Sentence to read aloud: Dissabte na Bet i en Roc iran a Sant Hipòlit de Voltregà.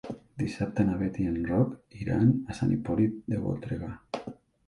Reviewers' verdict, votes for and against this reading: accepted, 2, 1